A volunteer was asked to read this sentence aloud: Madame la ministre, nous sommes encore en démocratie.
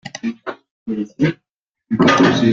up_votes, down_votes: 0, 2